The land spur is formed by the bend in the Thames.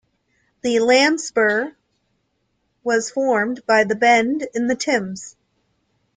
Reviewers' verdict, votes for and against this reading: rejected, 0, 2